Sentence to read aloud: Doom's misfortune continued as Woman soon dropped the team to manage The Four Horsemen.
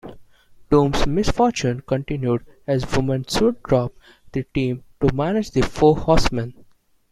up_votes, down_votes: 1, 2